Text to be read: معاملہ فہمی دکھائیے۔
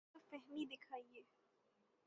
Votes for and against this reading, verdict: 3, 9, rejected